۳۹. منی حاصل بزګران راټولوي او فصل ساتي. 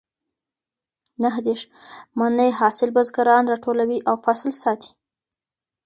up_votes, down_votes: 0, 2